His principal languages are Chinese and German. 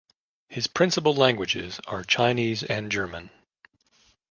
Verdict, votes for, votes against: accepted, 2, 0